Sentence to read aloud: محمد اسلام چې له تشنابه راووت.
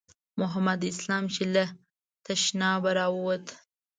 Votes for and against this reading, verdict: 2, 0, accepted